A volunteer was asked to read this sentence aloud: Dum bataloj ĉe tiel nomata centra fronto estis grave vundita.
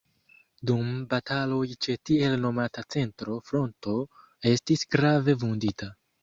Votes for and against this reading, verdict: 2, 1, accepted